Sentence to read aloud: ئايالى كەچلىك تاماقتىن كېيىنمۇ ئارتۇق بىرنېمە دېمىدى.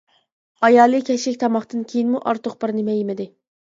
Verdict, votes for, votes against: rejected, 0, 2